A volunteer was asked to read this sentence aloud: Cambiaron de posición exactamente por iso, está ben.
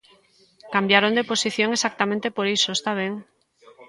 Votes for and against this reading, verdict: 2, 0, accepted